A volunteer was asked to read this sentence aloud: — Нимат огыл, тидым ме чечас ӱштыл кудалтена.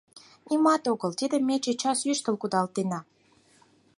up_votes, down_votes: 4, 0